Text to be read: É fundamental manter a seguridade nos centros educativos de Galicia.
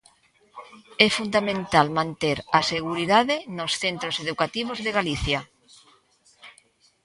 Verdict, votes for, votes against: accepted, 2, 0